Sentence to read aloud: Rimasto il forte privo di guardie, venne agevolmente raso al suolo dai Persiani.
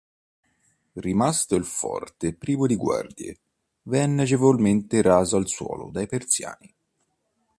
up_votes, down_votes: 2, 0